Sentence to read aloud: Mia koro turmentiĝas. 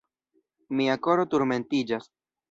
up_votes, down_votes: 1, 3